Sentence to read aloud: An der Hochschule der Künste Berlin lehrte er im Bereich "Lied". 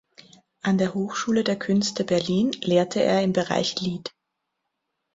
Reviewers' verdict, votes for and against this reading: accepted, 3, 0